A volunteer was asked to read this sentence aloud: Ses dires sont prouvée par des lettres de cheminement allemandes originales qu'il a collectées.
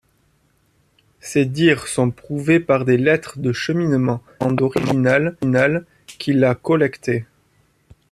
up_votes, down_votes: 0, 2